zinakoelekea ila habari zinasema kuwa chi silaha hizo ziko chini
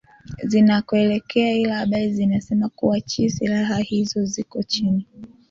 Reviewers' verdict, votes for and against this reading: accepted, 2, 0